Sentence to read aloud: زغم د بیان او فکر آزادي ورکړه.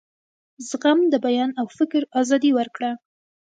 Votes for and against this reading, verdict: 1, 2, rejected